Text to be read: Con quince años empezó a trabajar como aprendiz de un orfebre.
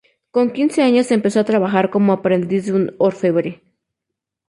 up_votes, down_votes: 2, 0